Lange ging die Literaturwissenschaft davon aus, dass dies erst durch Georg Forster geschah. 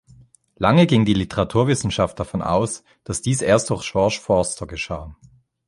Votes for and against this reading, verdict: 0, 2, rejected